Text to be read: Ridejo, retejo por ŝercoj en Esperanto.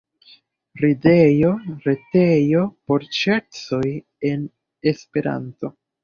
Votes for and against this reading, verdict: 2, 0, accepted